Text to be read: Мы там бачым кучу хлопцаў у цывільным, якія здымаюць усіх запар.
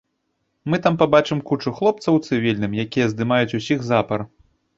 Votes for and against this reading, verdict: 0, 2, rejected